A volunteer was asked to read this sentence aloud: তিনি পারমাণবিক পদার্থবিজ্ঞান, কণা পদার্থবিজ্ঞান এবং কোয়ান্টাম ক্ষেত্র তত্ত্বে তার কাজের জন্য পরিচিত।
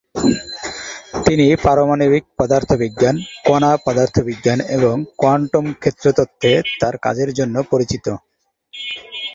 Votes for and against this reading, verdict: 2, 0, accepted